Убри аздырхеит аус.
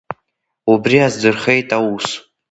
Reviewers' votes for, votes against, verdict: 2, 0, accepted